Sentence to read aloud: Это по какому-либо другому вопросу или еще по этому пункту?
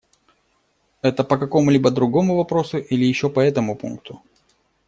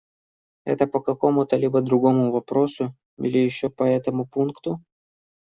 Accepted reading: first